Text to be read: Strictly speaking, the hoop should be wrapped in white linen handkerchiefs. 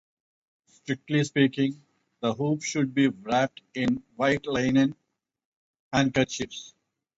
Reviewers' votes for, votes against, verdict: 2, 0, accepted